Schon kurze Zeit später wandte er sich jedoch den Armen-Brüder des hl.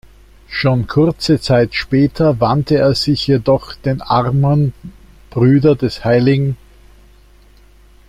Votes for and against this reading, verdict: 1, 2, rejected